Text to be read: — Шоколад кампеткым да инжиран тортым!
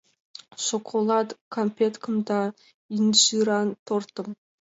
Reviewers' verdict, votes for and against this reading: accepted, 2, 0